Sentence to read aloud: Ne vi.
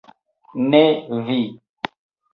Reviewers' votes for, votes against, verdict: 2, 1, accepted